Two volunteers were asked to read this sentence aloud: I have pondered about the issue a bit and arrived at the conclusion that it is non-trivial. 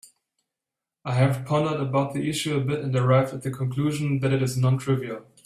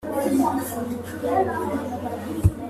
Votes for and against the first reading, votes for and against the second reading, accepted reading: 2, 0, 0, 2, first